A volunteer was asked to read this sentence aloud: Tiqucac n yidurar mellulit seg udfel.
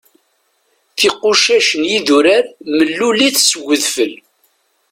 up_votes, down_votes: 2, 0